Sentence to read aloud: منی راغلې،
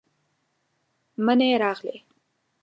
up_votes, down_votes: 1, 2